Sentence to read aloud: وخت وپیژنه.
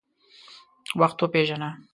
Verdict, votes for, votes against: accepted, 2, 0